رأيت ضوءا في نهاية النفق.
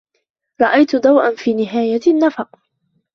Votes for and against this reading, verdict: 2, 1, accepted